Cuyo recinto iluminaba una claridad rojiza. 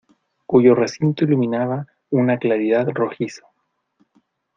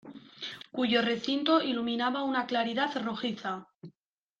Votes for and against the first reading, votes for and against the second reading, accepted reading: 1, 2, 2, 0, second